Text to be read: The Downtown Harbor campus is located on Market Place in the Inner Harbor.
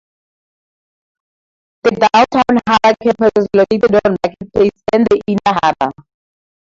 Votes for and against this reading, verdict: 0, 4, rejected